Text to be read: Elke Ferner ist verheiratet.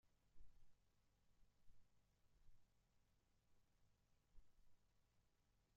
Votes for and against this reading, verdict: 0, 2, rejected